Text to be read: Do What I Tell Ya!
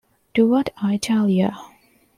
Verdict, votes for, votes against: accepted, 2, 1